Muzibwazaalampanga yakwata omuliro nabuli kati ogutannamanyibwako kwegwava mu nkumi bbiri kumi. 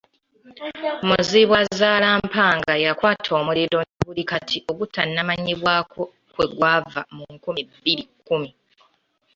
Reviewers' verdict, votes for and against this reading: accepted, 3, 0